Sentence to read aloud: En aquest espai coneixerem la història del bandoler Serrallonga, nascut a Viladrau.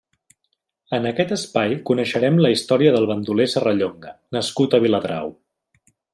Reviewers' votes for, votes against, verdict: 3, 1, accepted